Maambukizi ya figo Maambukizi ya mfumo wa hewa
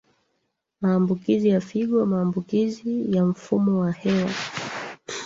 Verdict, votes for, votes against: rejected, 0, 2